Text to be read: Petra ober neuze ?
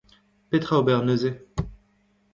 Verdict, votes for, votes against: rejected, 1, 2